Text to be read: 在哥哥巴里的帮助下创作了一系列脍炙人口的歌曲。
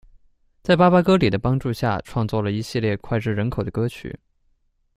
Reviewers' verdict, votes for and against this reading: rejected, 0, 2